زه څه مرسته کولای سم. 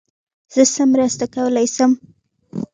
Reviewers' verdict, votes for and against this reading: accepted, 2, 0